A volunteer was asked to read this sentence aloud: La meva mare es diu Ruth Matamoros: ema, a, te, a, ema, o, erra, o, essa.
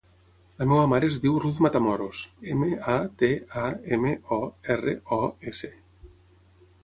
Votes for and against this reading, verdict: 0, 6, rejected